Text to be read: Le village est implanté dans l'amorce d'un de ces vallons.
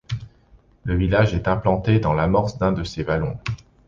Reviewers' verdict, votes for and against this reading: rejected, 1, 2